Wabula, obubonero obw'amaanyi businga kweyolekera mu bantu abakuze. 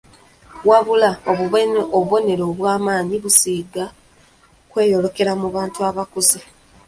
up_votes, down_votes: 0, 2